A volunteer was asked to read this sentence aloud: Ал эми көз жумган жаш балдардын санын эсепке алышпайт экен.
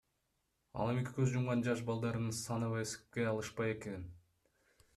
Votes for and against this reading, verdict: 1, 2, rejected